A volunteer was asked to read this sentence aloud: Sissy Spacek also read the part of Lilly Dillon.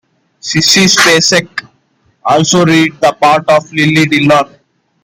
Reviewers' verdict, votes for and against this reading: rejected, 1, 2